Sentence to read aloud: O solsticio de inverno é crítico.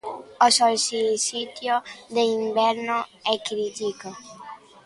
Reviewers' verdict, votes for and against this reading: rejected, 0, 2